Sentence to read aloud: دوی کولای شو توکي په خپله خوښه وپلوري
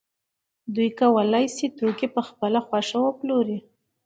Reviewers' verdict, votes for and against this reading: accepted, 2, 0